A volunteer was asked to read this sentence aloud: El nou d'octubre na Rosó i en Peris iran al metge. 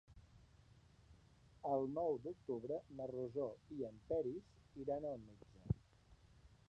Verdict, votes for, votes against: rejected, 0, 2